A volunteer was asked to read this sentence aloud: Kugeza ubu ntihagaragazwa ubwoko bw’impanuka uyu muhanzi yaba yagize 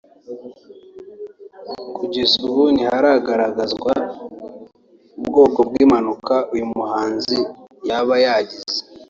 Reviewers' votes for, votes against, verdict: 3, 0, accepted